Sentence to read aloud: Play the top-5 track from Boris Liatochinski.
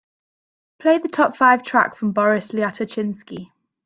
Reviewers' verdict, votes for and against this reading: rejected, 0, 2